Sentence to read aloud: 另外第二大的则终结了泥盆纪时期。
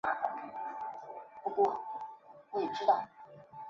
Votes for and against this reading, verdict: 0, 2, rejected